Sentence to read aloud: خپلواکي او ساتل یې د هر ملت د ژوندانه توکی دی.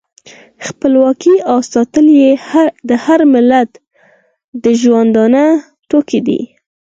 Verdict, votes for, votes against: accepted, 4, 0